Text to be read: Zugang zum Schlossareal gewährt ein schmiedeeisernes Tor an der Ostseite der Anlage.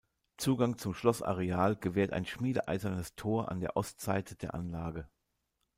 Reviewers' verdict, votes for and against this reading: accepted, 2, 0